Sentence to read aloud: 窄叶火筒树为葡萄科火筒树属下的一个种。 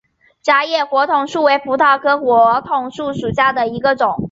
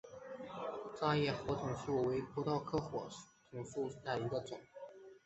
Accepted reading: first